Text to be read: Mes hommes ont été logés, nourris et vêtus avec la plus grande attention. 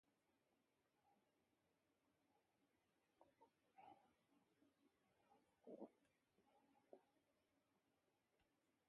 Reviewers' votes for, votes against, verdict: 0, 2, rejected